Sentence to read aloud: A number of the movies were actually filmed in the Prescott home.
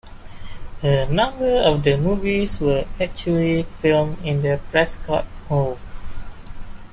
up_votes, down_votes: 2, 0